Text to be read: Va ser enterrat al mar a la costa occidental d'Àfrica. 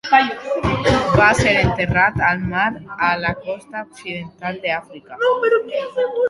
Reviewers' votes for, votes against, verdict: 0, 2, rejected